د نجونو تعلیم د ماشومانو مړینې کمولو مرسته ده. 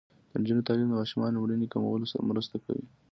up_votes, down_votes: 2, 0